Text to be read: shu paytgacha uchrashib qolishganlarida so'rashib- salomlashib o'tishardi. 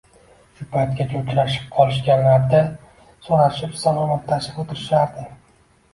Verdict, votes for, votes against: rejected, 1, 2